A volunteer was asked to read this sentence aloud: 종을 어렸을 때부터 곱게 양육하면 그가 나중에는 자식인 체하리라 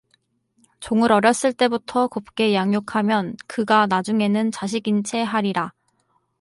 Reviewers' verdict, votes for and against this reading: rejected, 2, 2